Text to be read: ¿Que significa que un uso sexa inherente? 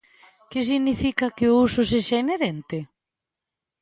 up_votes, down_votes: 1, 2